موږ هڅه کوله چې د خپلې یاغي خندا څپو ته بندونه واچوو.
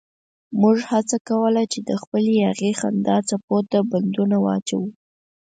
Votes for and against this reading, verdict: 4, 0, accepted